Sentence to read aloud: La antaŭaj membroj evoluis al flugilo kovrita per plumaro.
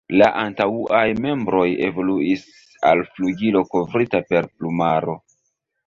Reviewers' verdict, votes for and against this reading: rejected, 1, 2